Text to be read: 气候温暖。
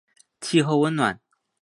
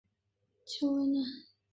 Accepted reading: first